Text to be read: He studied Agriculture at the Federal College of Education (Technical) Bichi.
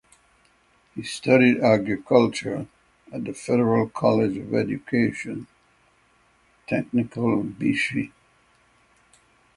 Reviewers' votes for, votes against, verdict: 6, 0, accepted